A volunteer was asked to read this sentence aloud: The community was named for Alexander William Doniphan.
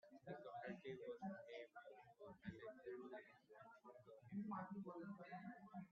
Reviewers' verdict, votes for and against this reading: rejected, 0, 2